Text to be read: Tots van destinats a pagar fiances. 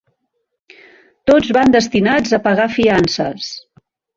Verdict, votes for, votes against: accepted, 3, 0